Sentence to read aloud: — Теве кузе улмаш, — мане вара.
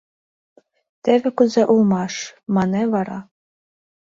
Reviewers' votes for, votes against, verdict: 1, 2, rejected